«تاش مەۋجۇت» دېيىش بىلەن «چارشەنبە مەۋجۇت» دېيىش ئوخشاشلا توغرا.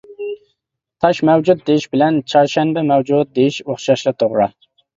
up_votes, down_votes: 2, 0